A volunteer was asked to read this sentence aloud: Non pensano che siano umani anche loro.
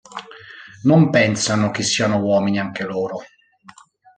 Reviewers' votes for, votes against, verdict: 1, 2, rejected